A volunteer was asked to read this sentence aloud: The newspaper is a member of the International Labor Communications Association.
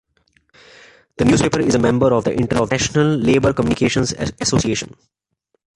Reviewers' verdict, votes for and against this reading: accepted, 2, 0